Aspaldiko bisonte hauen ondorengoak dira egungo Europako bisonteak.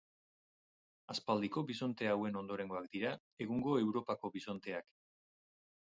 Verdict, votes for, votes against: accepted, 4, 0